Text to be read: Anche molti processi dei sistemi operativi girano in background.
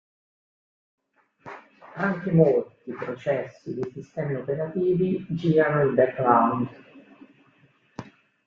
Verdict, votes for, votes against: rejected, 0, 2